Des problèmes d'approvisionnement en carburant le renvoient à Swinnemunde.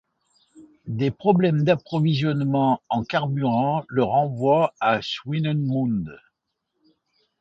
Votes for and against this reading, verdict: 2, 1, accepted